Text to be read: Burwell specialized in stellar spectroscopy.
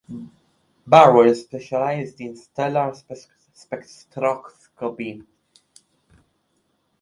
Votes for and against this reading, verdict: 0, 2, rejected